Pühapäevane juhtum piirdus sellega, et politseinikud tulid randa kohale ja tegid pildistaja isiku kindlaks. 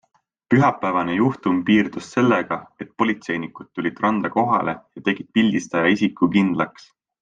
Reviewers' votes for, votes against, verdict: 2, 0, accepted